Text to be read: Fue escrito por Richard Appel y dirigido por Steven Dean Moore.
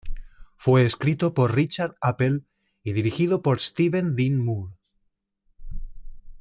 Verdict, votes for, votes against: accepted, 2, 0